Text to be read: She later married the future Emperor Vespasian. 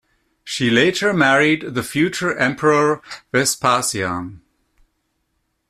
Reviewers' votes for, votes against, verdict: 2, 0, accepted